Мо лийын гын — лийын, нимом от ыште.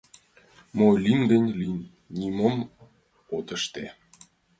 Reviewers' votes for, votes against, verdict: 2, 0, accepted